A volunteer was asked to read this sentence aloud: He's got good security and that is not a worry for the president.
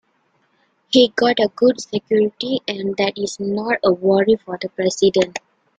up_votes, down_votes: 0, 2